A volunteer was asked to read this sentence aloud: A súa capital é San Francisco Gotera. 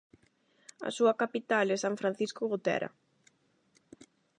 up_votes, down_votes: 8, 0